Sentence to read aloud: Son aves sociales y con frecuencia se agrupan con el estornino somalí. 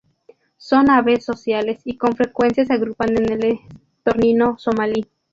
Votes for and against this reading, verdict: 0, 2, rejected